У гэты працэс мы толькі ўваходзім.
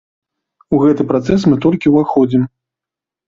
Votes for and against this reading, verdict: 2, 0, accepted